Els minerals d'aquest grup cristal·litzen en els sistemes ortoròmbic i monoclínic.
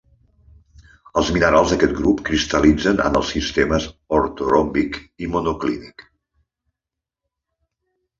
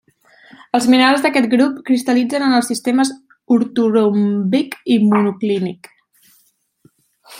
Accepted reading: first